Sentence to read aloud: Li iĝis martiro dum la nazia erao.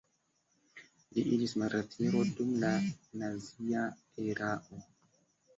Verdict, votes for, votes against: rejected, 0, 2